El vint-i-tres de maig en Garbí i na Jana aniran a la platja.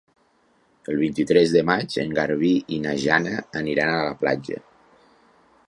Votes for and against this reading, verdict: 3, 0, accepted